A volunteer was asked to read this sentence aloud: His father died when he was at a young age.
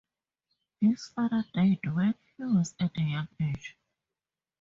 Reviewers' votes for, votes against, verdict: 0, 2, rejected